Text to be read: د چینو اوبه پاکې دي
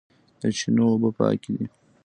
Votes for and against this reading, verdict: 0, 2, rejected